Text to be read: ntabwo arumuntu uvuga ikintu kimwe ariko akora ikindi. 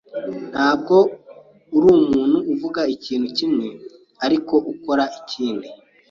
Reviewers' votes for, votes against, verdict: 2, 3, rejected